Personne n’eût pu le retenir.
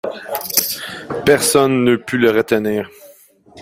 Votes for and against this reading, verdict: 1, 2, rejected